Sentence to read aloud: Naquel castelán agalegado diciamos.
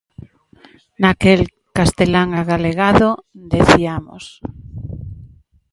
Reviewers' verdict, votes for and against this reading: rejected, 0, 2